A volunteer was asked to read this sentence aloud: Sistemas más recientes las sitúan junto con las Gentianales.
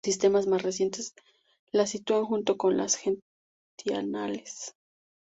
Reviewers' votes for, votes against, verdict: 2, 0, accepted